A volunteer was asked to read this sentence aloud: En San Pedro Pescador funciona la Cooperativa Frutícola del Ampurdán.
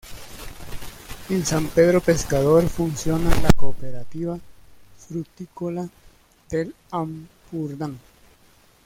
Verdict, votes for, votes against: rejected, 1, 2